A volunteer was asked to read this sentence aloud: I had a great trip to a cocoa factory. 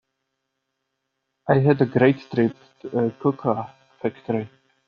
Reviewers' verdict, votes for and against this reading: rejected, 0, 2